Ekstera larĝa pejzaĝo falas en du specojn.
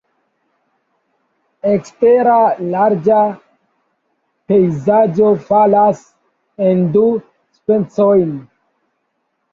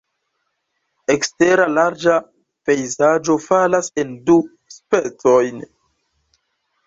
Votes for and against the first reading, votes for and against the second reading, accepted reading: 1, 2, 2, 1, second